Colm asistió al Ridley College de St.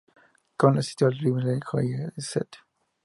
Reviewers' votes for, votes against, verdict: 0, 2, rejected